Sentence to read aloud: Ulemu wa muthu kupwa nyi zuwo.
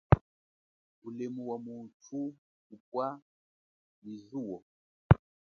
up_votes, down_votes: 1, 5